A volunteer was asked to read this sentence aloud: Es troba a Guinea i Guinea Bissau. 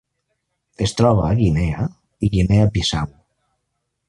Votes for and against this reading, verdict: 2, 0, accepted